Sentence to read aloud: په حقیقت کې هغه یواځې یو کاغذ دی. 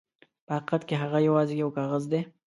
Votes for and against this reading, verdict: 2, 0, accepted